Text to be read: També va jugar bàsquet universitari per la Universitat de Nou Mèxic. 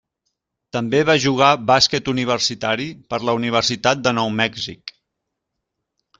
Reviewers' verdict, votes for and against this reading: accepted, 2, 0